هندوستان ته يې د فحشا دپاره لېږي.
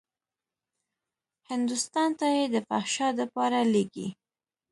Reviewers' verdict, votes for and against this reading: accepted, 2, 0